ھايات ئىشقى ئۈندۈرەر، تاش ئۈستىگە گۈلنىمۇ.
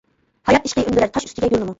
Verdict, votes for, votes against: rejected, 0, 2